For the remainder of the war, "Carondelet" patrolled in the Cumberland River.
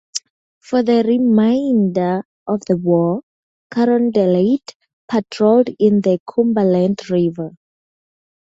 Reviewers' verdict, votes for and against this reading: accepted, 4, 0